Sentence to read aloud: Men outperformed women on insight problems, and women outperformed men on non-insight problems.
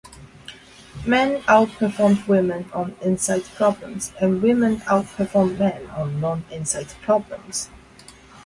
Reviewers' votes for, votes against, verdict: 4, 0, accepted